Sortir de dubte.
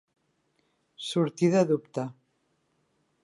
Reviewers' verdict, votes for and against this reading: accepted, 2, 0